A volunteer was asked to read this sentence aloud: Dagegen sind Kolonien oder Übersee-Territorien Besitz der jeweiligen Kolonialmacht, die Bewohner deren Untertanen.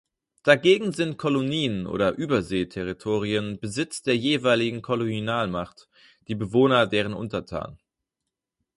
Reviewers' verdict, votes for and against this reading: rejected, 2, 4